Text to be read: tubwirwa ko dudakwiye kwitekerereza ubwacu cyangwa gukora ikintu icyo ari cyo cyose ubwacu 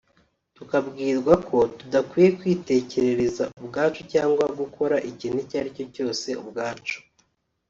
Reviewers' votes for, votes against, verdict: 0, 3, rejected